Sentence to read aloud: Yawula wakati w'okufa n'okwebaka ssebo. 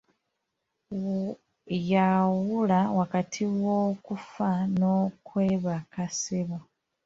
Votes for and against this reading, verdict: 0, 2, rejected